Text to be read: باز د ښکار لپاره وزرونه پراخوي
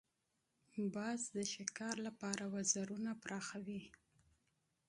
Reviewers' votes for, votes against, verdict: 2, 0, accepted